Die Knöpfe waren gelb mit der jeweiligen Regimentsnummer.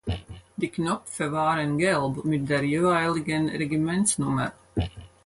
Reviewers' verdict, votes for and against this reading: accepted, 4, 0